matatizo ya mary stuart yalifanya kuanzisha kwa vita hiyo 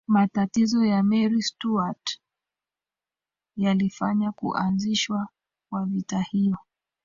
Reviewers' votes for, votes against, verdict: 2, 1, accepted